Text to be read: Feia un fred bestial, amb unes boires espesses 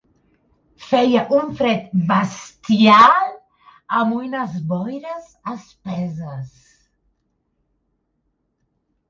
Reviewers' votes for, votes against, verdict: 0, 2, rejected